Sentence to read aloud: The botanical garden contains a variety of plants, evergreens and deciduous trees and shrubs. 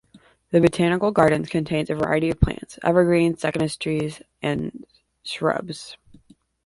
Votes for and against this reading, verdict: 0, 2, rejected